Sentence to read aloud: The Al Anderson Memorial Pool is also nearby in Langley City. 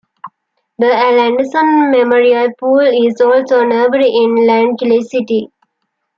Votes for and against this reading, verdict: 1, 3, rejected